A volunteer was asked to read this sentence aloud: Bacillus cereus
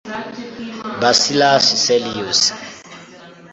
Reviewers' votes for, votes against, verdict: 1, 2, rejected